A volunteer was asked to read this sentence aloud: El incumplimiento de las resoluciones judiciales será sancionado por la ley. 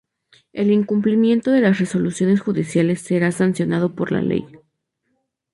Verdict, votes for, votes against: rejected, 2, 2